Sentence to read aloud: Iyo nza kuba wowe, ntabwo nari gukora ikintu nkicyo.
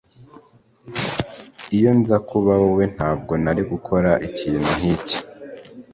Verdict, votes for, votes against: accepted, 2, 1